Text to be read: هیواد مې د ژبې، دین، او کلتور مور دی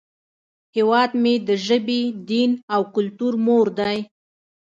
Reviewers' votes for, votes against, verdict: 2, 0, accepted